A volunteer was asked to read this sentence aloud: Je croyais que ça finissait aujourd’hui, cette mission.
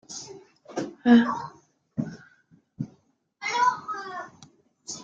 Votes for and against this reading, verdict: 0, 2, rejected